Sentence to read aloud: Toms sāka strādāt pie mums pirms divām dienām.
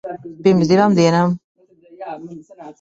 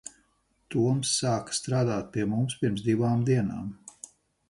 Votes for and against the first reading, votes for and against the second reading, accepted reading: 0, 2, 4, 0, second